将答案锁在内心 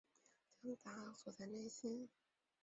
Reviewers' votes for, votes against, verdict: 1, 3, rejected